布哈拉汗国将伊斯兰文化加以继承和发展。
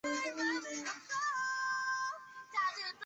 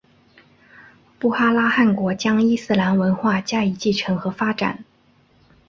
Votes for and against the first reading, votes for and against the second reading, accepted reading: 0, 2, 7, 0, second